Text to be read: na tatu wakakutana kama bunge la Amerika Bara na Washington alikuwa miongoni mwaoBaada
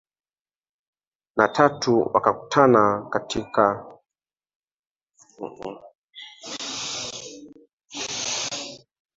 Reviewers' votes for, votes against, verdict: 0, 2, rejected